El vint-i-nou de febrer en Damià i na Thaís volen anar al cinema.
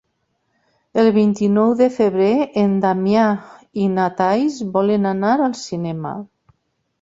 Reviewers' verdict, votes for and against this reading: rejected, 0, 2